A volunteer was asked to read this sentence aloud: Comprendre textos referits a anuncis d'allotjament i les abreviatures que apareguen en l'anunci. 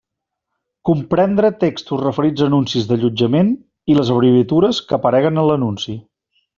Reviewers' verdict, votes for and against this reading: accepted, 2, 0